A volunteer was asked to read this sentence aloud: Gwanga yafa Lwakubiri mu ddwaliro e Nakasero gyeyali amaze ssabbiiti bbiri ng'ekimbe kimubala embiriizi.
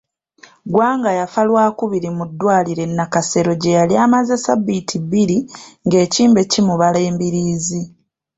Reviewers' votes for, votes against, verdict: 2, 0, accepted